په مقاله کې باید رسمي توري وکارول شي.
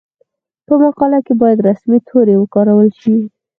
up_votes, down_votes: 4, 2